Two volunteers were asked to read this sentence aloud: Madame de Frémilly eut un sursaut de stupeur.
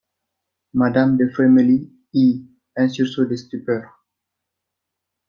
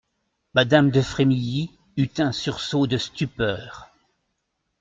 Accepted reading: second